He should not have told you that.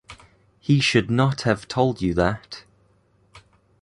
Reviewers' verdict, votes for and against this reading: accepted, 2, 0